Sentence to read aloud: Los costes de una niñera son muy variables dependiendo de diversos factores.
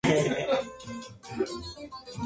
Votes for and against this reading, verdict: 0, 4, rejected